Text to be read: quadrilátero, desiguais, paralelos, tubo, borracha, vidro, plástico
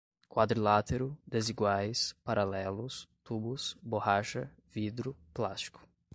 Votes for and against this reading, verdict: 0, 2, rejected